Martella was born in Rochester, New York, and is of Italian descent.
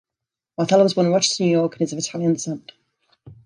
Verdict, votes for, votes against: rejected, 1, 2